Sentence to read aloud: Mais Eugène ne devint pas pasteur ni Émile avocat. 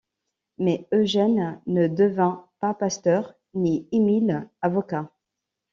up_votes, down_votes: 2, 0